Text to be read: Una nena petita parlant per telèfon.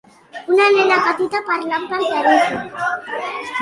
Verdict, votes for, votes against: accepted, 3, 1